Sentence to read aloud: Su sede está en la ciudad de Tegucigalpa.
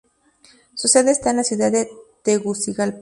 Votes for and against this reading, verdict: 2, 0, accepted